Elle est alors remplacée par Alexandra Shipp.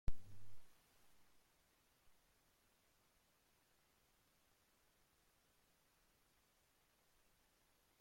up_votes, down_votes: 0, 2